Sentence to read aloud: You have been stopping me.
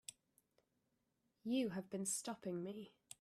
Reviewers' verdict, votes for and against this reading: accepted, 2, 0